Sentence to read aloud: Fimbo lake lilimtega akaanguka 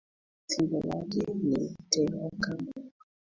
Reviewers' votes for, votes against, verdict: 1, 2, rejected